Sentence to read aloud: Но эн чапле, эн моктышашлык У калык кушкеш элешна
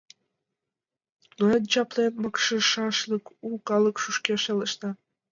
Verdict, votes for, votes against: rejected, 1, 3